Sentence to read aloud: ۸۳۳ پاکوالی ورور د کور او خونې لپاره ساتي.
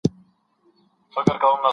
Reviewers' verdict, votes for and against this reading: rejected, 0, 2